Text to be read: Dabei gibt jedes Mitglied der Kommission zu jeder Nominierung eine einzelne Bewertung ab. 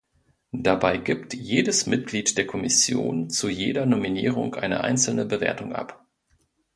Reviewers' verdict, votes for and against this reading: accepted, 2, 0